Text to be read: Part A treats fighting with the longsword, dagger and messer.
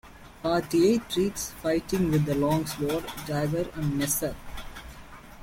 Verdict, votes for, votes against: accepted, 2, 0